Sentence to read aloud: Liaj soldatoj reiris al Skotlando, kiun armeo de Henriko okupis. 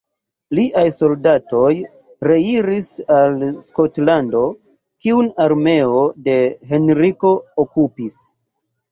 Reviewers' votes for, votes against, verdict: 2, 0, accepted